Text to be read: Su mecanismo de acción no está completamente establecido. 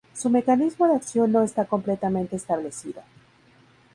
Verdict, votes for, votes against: accepted, 2, 0